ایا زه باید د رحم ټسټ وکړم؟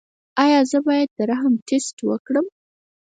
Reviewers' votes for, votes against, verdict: 2, 4, rejected